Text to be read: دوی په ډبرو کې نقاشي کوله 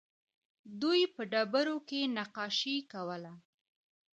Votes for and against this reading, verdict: 1, 2, rejected